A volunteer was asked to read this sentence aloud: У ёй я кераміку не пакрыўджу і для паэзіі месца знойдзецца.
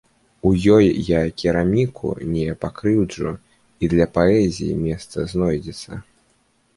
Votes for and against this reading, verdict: 1, 2, rejected